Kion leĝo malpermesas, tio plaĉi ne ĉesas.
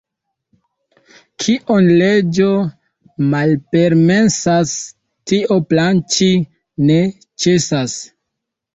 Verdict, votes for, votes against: rejected, 1, 2